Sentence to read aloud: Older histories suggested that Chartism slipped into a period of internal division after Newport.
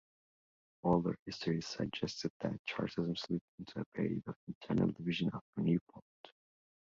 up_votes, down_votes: 2, 1